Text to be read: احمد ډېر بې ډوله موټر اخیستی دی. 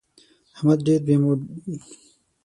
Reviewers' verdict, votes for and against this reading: rejected, 3, 6